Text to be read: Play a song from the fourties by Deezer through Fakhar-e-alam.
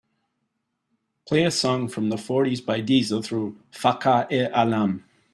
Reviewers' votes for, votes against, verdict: 3, 0, accepted